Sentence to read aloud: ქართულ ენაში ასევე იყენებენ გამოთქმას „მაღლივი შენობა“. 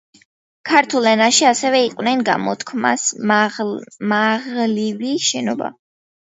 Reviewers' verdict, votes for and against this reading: rejected, 0, 2